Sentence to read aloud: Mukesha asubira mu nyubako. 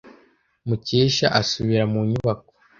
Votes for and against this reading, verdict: 2, 0, accepted